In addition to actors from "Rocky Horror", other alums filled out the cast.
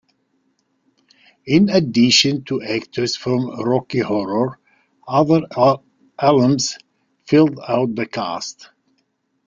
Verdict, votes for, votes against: accepted, 2, 1